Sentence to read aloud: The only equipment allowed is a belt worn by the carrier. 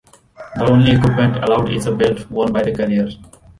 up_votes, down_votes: 2, 0